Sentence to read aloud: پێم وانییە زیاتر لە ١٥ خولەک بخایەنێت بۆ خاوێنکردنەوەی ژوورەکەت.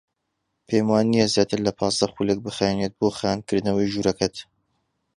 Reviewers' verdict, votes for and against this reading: rejected, 0, 2